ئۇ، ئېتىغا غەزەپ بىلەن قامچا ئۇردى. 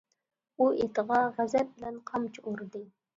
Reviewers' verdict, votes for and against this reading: accepted, 2, 0